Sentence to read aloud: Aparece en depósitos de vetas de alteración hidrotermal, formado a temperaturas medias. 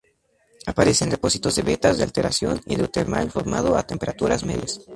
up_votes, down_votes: 0, 2